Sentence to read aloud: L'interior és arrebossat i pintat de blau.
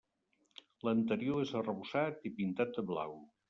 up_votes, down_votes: 0, 2